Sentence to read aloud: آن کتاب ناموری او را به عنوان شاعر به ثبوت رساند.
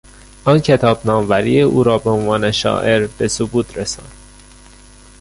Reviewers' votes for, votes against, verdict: 0, 2, rejected